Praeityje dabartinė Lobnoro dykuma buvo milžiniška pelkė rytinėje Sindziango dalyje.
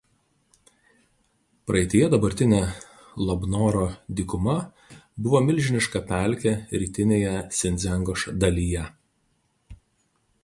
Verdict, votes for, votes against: rejected, 2, 2